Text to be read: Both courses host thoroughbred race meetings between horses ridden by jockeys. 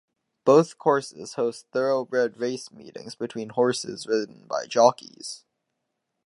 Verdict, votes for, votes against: accepted, 4, 0